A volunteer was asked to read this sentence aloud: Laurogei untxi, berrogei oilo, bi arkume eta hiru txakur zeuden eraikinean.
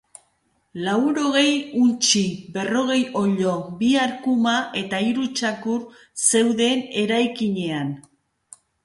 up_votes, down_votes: 0, 2